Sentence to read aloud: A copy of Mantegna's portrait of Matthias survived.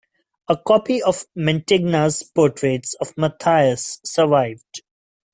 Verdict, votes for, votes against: rejected, 0, 2